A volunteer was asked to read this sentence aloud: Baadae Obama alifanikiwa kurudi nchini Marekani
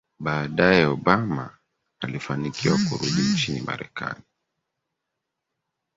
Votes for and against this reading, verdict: 3, 1, accepted